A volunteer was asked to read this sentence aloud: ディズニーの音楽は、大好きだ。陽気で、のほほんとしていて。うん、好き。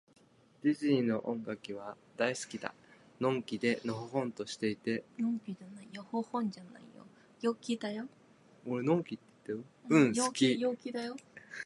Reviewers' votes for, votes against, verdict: 0, 2, rejected